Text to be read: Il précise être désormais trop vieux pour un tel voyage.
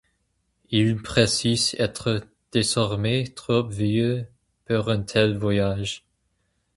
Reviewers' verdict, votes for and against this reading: rejected, 2, 2